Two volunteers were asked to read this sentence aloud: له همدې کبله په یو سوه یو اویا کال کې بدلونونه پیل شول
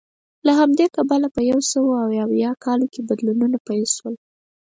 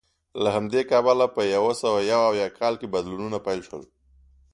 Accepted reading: second